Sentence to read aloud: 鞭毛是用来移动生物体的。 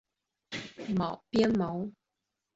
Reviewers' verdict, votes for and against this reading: rejected, 0, 3